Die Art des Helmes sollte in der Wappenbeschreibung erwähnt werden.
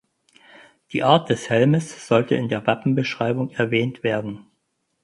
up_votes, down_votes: 4, 0